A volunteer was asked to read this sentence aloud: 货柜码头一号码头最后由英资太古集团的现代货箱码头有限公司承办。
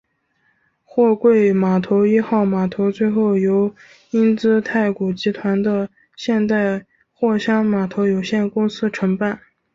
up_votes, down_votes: 4, 1